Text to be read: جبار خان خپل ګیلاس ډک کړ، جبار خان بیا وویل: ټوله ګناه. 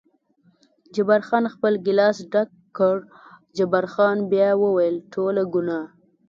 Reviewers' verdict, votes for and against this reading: accepted, 2, 0